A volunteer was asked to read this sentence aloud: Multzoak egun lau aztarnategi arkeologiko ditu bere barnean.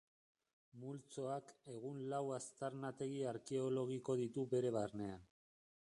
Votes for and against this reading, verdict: 0, 3, rejected